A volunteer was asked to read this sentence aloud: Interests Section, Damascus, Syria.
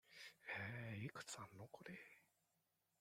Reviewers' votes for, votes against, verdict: 0, 2, rejected